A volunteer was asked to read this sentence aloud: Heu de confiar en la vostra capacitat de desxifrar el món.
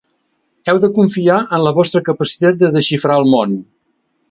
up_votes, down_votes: 2, 0